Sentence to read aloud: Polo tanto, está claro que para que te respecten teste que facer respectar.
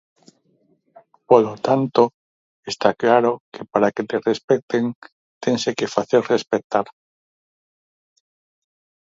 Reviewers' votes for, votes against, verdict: 2, 4, rejected